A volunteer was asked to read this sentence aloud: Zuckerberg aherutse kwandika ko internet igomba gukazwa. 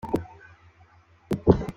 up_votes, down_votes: 0, 3